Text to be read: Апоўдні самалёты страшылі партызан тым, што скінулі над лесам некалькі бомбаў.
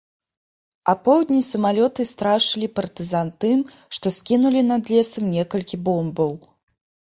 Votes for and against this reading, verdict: 1, 2, rejected